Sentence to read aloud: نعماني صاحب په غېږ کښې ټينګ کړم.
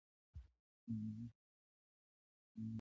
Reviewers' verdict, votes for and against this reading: rejected, 0, 2